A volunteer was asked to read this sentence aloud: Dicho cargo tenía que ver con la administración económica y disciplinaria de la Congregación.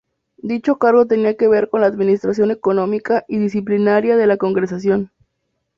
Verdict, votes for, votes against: rejected, 0, 2